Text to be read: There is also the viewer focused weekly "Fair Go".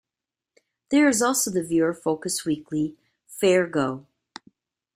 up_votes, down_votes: 2, 0